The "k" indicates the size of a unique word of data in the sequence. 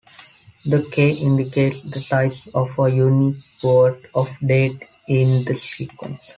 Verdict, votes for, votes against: accepted, 2, 0